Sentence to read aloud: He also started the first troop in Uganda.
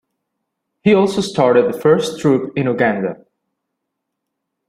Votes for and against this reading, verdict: 2, 0, accepted